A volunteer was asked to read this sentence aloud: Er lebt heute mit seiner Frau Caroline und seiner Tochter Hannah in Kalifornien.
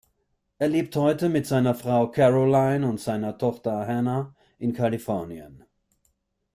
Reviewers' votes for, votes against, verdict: 2, 0, accepted